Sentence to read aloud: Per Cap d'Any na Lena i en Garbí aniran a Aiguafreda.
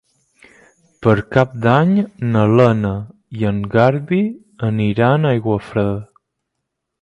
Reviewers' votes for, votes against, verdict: 2, 4, rejected